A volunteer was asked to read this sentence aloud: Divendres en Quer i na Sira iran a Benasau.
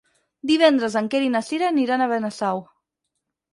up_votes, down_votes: 2, 4